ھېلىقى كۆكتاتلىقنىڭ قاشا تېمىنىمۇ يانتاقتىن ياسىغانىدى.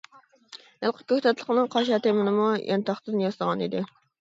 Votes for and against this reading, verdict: 1, 2, rejected